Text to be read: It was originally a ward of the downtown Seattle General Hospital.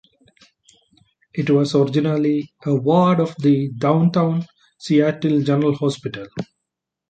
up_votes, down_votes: 0, 2